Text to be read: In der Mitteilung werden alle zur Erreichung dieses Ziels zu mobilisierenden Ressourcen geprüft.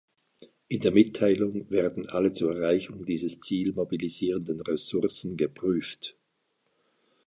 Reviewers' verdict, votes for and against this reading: rejected, 1, 2